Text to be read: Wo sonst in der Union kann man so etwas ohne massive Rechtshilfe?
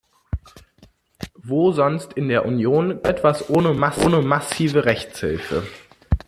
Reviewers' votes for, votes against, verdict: 0, 2, rejected